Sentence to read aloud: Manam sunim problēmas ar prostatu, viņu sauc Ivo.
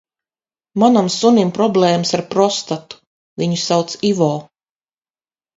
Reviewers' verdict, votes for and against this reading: accepted, 4, 0